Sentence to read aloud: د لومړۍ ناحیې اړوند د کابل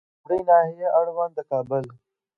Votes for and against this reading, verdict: 2, 1, accepted